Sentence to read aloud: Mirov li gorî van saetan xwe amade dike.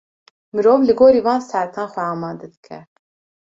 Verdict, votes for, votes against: accepted, 2, 0